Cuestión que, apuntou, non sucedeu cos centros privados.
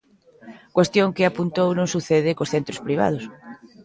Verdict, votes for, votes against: rejected, 0, 2